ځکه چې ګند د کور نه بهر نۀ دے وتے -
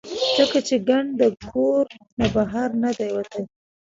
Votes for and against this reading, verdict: 0, 2, rejected